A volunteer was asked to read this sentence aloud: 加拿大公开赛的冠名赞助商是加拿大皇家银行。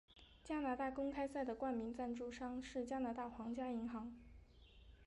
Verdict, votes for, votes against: rejected, 2, 3